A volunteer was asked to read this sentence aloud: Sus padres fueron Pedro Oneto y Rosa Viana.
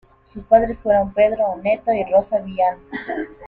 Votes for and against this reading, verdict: 1, 2, rejected